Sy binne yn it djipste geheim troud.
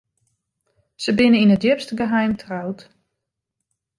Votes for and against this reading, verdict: 2, 0, accepted